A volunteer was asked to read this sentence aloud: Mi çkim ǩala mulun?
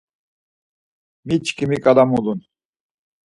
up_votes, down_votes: 4, 0